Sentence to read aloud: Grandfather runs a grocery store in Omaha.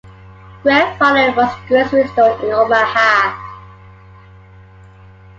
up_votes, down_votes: 1, 2